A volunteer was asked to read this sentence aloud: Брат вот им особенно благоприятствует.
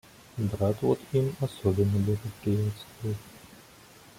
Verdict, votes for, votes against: rejected, 0, 2